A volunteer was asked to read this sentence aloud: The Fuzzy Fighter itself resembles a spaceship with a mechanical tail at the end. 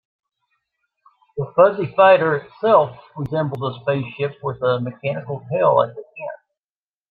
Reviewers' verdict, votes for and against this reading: accepted, 2, 1